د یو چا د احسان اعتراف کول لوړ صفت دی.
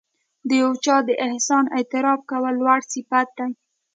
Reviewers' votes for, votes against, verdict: 2, 0, accepted